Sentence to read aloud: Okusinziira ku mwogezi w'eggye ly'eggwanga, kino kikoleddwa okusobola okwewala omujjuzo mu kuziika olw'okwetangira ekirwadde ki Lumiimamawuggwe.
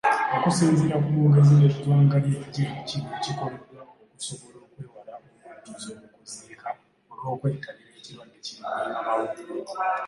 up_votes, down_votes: 0, 2